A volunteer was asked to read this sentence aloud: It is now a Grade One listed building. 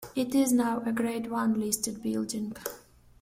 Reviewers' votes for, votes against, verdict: 2, 0, accepted